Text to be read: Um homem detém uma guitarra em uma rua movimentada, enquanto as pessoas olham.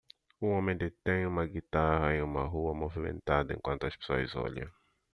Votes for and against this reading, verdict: 1, 2, rejected